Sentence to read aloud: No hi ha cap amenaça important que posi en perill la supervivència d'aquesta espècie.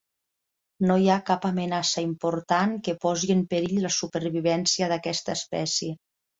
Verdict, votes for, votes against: accepted, 4, 0